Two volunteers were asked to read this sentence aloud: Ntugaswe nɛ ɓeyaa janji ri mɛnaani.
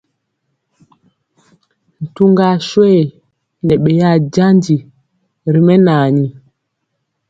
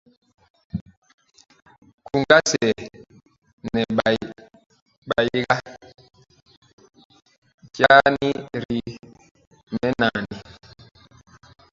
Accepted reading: first